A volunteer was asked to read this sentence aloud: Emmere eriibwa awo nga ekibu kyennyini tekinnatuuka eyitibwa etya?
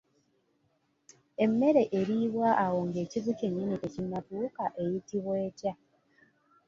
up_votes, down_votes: 2, 0